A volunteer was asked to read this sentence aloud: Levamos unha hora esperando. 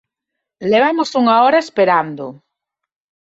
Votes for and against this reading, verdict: 2, 0, accepted